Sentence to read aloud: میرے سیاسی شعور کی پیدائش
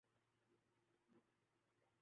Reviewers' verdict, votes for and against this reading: rejected, 0, 4